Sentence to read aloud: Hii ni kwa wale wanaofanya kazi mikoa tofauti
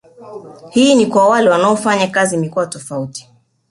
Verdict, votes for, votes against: rejected, 1, 2